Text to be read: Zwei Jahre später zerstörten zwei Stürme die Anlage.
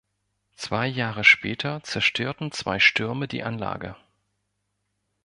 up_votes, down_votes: 2, 0